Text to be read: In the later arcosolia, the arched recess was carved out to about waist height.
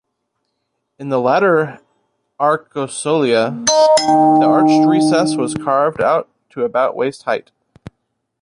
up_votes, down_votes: 1, 2